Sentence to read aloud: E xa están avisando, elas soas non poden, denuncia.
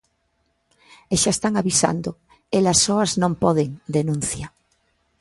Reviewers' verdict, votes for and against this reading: accepted, 2, 0